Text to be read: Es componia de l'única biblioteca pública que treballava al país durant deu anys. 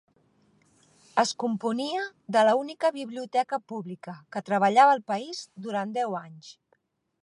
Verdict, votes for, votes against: rejected, 1, 2